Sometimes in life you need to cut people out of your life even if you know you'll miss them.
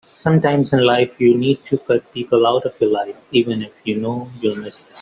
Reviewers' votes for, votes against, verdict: 1, 2, rejected